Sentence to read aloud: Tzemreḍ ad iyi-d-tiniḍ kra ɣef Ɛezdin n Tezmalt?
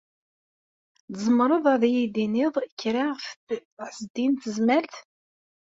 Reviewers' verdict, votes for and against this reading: rejected, 0, 2